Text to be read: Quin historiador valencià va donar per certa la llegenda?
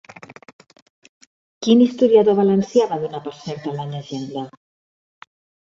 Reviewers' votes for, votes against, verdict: 1, 2, rejected